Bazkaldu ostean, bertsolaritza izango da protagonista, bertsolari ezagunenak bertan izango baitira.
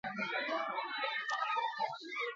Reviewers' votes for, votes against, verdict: 0, 4, rejected